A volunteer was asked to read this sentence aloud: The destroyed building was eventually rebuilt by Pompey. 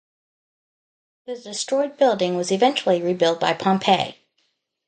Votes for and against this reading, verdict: 2, 0, accepted